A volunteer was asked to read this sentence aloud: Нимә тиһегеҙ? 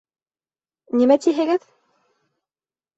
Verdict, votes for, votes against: accepted, 2, 0